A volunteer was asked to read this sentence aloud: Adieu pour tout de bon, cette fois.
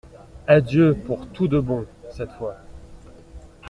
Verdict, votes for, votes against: accepted, 2, 0